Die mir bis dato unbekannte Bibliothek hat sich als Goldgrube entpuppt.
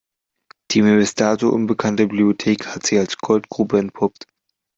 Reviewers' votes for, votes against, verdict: 2, 0, accepted